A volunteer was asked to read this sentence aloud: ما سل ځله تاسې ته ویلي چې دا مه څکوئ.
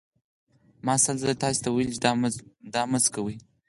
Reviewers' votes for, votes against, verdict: 4, 0, accepted